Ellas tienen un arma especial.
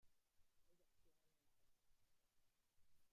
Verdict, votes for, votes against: rejected, 0, 2